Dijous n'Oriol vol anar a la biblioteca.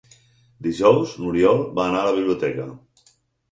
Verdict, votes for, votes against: rejected, 0, 4